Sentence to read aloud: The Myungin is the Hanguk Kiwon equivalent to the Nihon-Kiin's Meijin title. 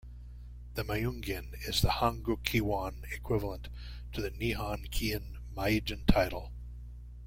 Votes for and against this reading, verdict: 1, 2, rejected